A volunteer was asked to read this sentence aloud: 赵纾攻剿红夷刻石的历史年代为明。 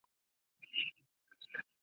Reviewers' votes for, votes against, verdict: 0, 2, rejected